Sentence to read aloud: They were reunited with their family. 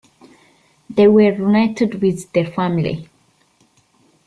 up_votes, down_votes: 1, 2